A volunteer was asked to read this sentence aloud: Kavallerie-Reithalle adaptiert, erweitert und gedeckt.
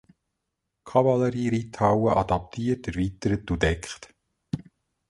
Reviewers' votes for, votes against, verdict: 0, 3, rejected